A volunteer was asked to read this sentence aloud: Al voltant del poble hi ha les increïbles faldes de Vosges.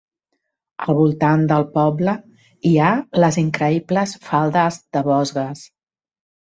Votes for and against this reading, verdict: 1, 2, rejected